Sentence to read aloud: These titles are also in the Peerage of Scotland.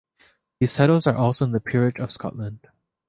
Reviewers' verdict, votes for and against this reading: accepted, 4, 0